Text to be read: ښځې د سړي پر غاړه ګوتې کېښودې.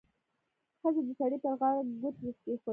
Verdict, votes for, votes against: rejected, 0, 2